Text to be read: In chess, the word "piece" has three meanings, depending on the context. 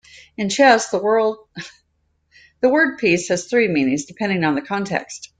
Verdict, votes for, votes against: rejected, 1, 2